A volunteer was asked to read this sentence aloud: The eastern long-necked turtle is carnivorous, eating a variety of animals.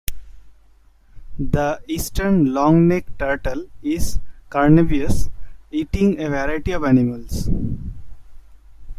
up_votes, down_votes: 1, 2